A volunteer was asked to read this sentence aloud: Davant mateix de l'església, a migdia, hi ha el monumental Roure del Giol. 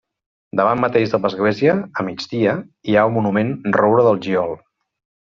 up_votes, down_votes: 0, 2